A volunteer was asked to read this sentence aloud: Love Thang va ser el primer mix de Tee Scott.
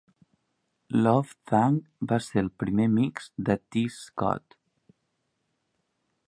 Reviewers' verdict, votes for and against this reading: accepted, 2, 0